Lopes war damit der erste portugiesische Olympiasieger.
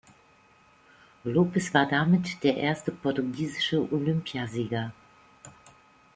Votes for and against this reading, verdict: 2, 0, accepted